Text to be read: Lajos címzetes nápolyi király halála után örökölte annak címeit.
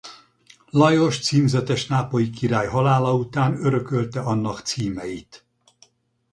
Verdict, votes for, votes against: accepted, 4, 0